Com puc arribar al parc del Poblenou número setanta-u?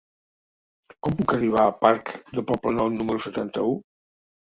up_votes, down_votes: 0, 2